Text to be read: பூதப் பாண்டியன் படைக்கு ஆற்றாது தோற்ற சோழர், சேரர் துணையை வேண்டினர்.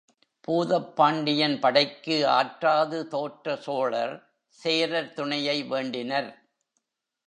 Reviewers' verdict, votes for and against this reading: accepted, 2, 0